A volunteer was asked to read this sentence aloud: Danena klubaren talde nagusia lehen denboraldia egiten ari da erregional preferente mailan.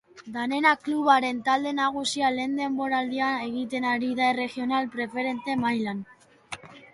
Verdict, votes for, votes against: rejected, 1, 2